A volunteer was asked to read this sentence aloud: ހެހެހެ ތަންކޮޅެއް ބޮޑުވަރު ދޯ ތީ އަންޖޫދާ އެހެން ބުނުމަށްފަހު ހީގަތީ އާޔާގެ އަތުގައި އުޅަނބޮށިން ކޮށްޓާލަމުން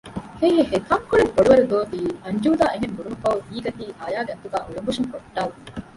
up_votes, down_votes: 0, 2